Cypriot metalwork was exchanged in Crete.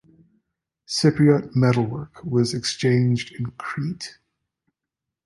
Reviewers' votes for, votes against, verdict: 2, 0, accepted